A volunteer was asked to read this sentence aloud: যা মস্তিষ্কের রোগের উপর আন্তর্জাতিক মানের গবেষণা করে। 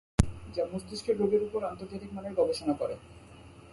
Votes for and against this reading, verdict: 2, 0, accepted